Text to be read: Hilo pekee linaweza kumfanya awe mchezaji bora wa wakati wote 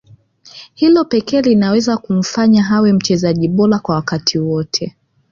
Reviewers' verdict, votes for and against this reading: rejected, 1, 2